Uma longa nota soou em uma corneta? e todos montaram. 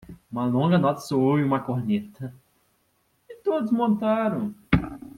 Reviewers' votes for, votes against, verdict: 2, 0, accepted